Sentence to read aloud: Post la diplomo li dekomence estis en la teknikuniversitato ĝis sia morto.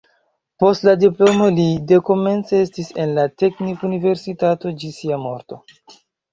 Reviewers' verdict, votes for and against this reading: accepted, 2, 0